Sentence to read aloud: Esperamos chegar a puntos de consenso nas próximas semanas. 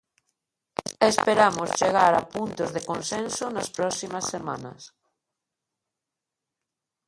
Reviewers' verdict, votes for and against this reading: accepted, 2, 1